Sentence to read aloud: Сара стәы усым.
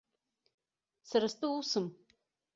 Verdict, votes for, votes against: accepted, 2, 0